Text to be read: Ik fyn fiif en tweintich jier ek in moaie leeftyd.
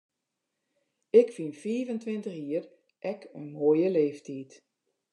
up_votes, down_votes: 2, 0